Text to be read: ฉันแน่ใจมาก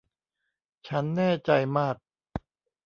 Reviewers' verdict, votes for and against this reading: rejected, 1, 2